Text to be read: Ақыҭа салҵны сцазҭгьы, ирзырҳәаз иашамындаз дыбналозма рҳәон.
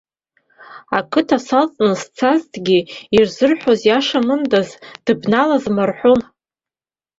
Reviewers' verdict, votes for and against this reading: accepted, 2, 0